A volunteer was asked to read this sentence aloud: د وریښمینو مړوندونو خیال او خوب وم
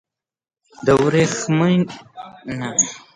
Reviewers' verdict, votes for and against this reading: rejected, 1, 2